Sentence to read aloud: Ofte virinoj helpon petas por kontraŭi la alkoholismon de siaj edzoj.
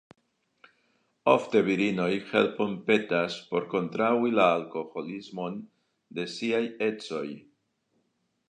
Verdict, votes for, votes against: accepted, 2, 0